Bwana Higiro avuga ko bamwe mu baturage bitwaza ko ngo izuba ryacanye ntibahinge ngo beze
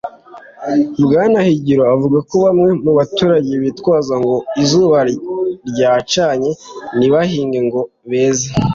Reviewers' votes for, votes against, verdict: 2, 0, accepted